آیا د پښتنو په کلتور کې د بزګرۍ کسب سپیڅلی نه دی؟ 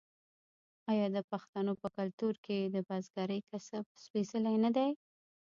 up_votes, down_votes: 2, 1